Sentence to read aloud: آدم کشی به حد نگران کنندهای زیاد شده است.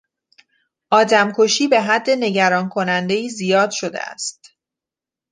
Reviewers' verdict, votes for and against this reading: accepted, 2, 0